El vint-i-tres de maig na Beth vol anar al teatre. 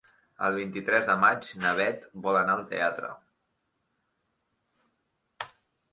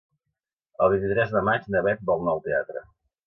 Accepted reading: first